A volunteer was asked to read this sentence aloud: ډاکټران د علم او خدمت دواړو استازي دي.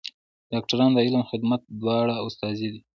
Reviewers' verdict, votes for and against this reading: accepted, 3, 0